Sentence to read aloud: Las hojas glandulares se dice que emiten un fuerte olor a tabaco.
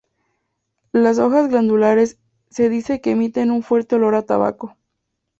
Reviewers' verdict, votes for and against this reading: accepted, 2, 0